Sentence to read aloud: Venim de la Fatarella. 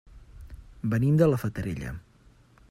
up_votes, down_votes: 3, 0